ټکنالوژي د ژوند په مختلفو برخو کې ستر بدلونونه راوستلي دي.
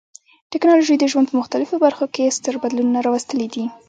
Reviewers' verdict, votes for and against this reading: rejected, 0, 2